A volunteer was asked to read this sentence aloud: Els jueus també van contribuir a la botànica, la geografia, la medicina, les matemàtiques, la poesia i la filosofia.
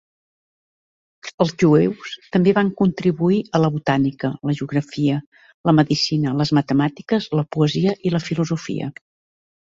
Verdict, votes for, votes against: accepted, 4, 0